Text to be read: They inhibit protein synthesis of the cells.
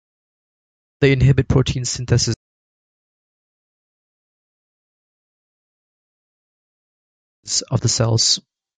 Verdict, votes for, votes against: rejected, 0, 2